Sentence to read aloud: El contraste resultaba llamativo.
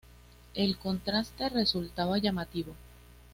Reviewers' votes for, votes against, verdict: 2, 0, accepted